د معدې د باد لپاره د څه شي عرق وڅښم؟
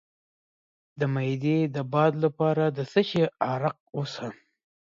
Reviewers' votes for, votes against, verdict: 1, 2, rejected